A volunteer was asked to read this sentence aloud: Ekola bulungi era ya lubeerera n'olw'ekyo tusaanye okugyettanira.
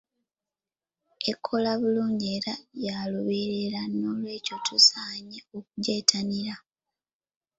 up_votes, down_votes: 2, 0